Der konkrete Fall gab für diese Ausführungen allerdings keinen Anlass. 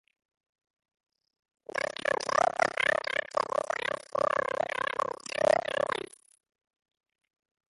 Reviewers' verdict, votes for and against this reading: rejected, 0, 2